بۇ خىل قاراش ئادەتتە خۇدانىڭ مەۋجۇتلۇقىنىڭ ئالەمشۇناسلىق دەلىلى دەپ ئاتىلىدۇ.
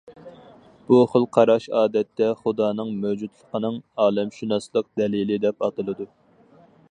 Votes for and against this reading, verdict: 4, 0, accepted